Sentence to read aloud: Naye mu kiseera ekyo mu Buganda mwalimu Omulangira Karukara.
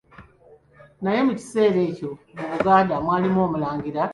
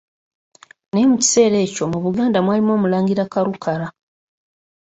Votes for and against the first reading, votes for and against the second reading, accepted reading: 0, 2, 2, 0, second